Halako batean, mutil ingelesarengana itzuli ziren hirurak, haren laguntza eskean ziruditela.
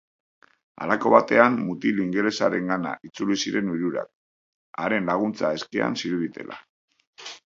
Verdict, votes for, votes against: rejected, 0, 2